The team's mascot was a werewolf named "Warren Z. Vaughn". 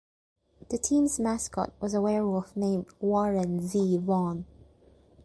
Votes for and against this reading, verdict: 2, 0, accepted